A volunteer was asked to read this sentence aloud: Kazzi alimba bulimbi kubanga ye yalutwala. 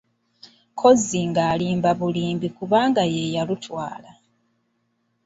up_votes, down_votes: 0, 2